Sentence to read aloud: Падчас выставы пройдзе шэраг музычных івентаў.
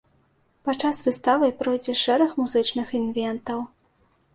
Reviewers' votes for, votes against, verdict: 0, 2, rejected